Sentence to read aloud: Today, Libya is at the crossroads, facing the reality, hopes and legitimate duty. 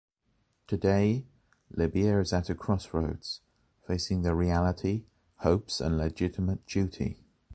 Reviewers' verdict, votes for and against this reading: accepted, 2, 1